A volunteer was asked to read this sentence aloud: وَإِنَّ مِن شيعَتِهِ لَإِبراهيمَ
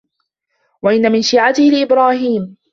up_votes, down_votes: 2, 1